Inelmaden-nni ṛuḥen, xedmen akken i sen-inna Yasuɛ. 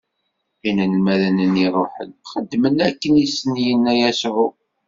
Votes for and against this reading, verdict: 1, 2, rejected